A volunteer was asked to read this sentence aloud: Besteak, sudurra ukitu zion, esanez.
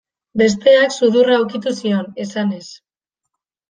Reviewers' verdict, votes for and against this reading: accepted, 3, 1